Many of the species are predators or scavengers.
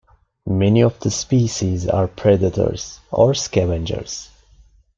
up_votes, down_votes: 2, 0